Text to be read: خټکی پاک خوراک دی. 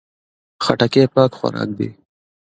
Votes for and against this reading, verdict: 2, 0, accepted